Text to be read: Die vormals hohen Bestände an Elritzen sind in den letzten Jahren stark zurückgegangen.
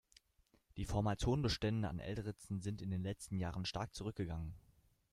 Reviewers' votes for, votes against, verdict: 2, 0, accepted